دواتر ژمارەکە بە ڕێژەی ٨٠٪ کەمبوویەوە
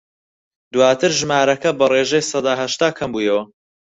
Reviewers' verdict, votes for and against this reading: rejected, 0, 2